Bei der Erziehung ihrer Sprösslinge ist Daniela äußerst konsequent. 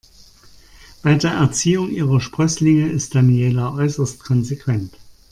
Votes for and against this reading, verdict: 2, 0, accepted